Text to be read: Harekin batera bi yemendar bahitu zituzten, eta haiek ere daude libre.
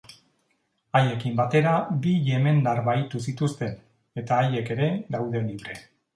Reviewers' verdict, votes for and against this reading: rejected, 0, 2